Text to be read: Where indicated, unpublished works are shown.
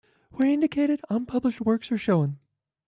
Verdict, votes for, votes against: rejected, 1, 2